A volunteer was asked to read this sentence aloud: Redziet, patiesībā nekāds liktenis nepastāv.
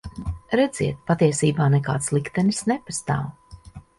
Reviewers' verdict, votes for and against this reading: accepted, 2, 0